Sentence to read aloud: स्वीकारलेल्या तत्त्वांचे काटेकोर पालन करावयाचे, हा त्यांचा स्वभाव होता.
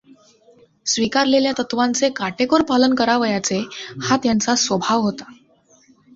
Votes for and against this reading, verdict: 2, 0, accepted